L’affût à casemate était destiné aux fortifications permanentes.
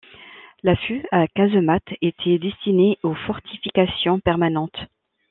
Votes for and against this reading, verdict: 2, 0, accepted